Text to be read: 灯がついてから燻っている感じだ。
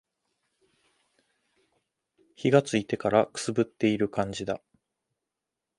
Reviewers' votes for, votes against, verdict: 2, 0, accepted